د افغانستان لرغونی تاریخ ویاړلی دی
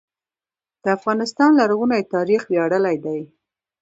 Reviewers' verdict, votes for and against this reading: rejected, 1, 2